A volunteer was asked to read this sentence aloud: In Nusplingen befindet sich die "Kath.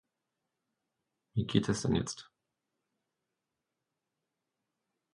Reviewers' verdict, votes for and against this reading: rejected, 0, 2